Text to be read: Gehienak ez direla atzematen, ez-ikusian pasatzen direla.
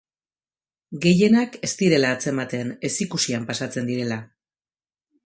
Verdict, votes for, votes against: accepted, 2, 0